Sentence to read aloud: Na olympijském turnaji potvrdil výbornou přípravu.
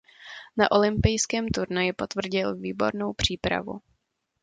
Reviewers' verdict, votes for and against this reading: accepted, 2, 0